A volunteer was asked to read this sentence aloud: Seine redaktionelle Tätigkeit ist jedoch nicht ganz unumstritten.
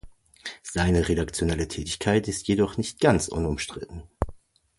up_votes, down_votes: 2, 0